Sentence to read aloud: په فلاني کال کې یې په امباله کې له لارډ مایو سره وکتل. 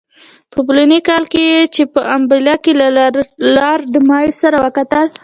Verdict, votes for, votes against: accepted, 2, 0